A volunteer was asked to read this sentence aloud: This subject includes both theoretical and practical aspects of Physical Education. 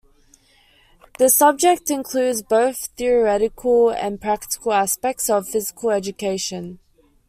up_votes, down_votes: 2, 0